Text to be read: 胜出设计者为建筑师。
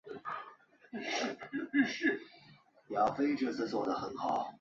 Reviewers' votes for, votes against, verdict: 1, 5, rejected